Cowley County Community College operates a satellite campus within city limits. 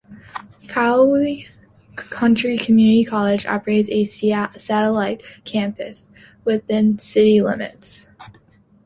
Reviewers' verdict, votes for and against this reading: rejected, 0, 2